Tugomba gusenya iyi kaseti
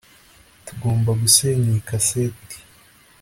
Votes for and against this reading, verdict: 1, 2, rejected